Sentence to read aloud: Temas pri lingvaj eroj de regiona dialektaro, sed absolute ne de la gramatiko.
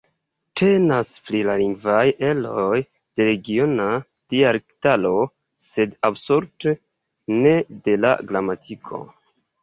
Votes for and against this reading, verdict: 2, 1, accepted